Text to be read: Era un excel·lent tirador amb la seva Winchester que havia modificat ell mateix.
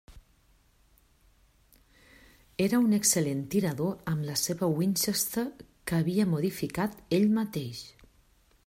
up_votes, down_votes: 3, 1